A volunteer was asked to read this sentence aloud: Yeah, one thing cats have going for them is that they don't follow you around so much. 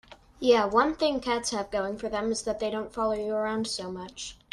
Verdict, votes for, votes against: accepted, 2, 0